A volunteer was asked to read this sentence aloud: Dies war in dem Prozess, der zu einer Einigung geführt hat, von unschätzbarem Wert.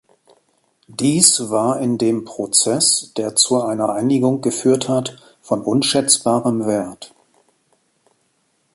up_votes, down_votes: 2, 0